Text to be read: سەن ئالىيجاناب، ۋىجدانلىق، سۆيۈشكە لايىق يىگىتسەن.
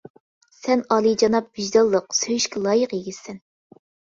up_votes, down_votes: 2, 0